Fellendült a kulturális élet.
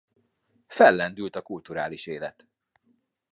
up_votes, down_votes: 2, 0